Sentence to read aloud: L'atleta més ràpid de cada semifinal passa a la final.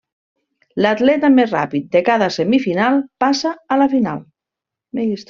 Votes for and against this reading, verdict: 1, 2, rejected